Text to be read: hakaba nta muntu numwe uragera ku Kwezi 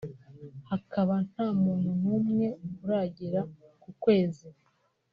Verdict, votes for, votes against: rejected, 1, 2